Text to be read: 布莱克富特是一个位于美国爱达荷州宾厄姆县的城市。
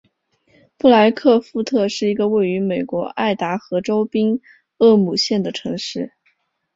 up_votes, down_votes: 3, 0